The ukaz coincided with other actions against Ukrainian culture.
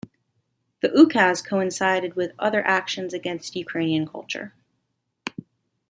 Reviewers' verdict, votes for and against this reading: accepted, 2, 1